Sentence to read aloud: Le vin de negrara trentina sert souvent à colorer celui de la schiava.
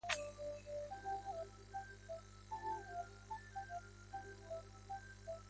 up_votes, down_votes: 0, 2